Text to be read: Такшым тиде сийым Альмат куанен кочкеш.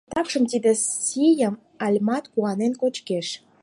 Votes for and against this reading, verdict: 4, 0, accepted